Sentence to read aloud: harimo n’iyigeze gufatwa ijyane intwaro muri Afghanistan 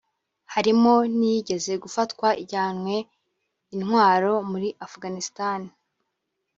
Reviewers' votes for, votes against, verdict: 0, 2, rejected